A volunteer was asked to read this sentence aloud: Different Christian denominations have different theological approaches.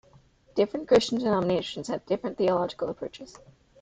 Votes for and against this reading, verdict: 0, 2, rejected